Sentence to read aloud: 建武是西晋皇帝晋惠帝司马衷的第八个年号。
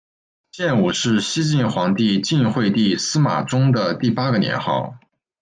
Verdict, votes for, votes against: accepted, 2, 0